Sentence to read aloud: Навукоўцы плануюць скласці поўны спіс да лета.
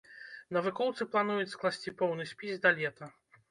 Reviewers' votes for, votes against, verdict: 2, 0, accepted